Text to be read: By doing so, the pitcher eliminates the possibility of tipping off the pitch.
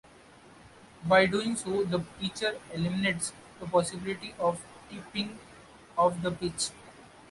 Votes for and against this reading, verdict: 0, 2, rejected